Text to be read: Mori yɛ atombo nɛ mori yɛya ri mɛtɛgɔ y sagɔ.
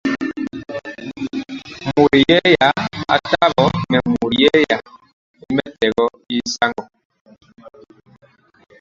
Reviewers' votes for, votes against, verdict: 0, 2, rejected